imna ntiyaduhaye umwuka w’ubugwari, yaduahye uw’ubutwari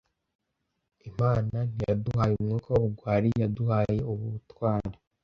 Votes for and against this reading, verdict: 1, 2, rejected